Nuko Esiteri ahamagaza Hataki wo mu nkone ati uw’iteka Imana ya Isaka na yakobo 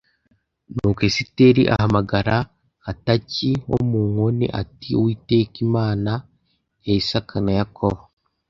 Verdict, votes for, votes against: rejected, 0, 2